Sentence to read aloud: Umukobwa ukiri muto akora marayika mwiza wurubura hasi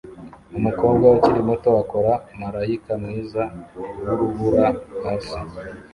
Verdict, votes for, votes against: accepted, 2, 0